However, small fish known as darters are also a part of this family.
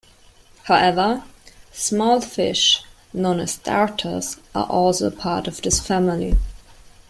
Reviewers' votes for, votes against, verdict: 3, 0, accepted